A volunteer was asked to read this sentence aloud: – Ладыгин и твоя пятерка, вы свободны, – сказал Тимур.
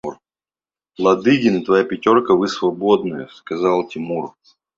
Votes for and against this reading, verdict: 2, 1, accepted